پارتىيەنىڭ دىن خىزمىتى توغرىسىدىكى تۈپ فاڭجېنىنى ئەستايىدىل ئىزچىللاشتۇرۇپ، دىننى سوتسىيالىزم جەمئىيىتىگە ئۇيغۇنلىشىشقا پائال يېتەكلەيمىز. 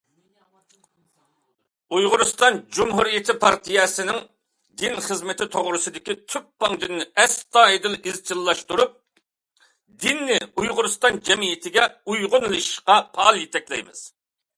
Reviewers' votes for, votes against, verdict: 0, 2, rejected